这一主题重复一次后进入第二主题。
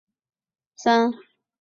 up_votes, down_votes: 0, 4